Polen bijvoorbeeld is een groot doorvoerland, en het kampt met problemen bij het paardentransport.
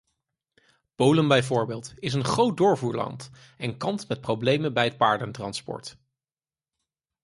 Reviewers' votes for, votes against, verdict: 0, 4, rejected